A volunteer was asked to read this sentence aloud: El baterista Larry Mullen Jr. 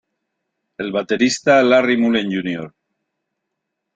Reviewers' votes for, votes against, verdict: 2, 1, accepted